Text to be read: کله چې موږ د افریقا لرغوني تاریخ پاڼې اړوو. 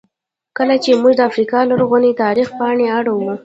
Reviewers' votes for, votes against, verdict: 0, 2, rejected